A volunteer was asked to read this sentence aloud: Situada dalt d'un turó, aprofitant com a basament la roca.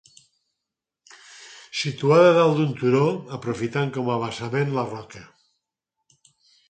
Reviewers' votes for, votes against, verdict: 4, 0, accepted